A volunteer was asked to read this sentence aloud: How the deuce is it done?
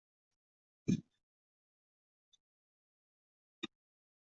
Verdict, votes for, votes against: rejected, 0, 2